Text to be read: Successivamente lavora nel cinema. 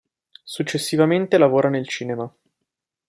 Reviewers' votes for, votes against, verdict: 2, 0, accepted